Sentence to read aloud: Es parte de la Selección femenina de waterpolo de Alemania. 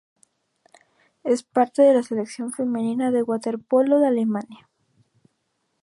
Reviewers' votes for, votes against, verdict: 2, 0, accepted